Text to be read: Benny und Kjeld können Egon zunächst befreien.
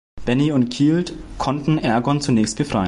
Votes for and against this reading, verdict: 0, 2, rejected